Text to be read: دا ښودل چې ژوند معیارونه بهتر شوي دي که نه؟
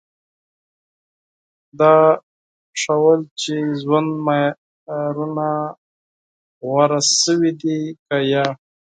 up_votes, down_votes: 0, 4